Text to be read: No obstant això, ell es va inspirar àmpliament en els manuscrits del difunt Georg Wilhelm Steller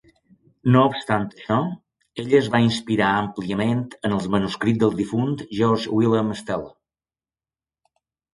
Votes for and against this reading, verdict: 2, 0, accepted